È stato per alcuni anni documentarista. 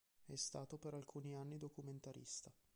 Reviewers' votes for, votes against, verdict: 0, 2, rejected